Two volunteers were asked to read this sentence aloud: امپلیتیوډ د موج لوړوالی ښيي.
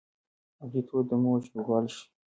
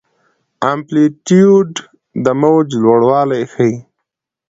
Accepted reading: second